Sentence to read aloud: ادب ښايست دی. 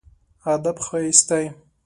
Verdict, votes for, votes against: accepted, 2, 0